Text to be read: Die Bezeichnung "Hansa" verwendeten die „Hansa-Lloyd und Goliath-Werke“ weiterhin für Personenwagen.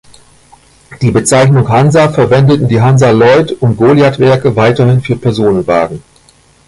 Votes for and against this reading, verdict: 2, 0, accepted